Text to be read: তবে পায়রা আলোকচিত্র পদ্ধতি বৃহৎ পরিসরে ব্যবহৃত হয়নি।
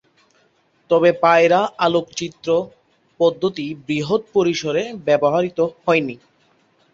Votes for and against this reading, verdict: 0, 2, rejected